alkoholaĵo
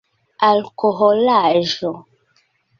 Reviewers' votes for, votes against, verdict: 2, 0, accepted